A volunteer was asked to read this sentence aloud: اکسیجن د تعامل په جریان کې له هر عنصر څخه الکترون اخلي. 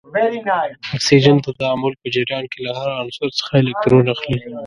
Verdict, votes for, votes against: rejected, 1, 2